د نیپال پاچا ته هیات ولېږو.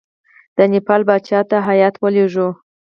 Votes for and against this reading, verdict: 0, 4, rejected